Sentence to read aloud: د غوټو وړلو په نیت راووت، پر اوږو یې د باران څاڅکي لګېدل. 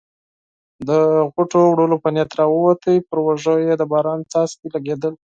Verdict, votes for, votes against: accepted, 6, 0